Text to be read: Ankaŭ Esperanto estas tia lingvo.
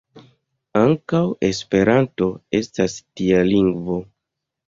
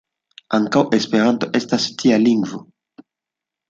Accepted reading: second